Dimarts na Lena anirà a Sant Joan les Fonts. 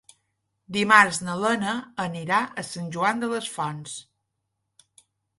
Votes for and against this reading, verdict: 0, 2, rejected